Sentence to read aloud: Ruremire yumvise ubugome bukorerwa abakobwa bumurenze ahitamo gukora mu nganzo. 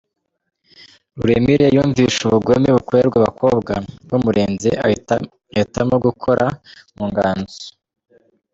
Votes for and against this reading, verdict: 1, 2, rejected